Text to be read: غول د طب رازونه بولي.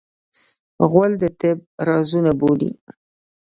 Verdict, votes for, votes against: rejected, 0, 2